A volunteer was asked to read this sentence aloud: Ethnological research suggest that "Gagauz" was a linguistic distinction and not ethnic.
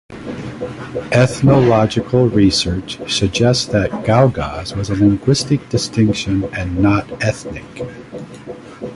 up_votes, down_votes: 2, 0